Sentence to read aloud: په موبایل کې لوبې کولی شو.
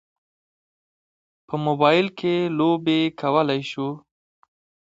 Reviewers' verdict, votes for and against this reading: accepted, 2, 0